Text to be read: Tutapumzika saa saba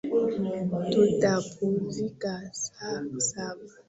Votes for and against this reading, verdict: 0, 2, rejected